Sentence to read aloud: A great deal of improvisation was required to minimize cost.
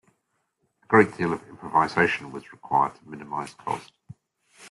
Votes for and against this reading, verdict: 2, 1, accepted